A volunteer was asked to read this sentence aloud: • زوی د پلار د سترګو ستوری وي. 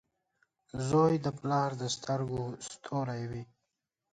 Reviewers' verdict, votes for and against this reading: accepted, 2, 0